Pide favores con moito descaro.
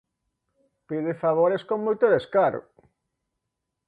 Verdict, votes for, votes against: accepted, 2, 0